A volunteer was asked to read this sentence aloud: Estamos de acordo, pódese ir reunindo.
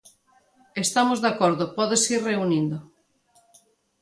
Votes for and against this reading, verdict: 2, 0, accepted